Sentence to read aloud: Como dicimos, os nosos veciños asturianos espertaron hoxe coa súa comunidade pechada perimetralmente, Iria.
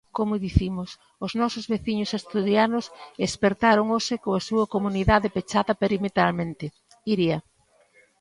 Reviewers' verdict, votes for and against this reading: rejected, 1, 2